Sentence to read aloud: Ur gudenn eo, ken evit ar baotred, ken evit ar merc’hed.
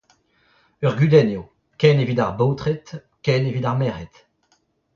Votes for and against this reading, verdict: 2, 0, accepted